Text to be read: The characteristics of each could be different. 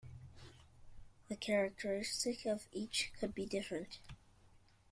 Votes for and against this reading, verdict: 1, 2, rejected